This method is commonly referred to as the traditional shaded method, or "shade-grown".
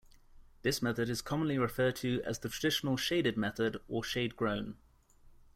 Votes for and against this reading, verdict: 2, 0, accepted